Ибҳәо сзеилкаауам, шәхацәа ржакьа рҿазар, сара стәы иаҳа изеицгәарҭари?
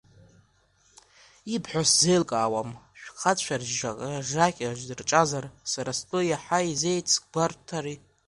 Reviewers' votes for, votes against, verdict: 0, 2, rejected